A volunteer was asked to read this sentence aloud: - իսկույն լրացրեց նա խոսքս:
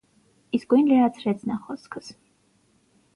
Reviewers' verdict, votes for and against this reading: accepted, 6, 0